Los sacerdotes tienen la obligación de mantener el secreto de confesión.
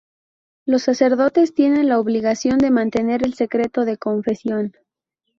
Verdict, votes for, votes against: accepted, 4, 0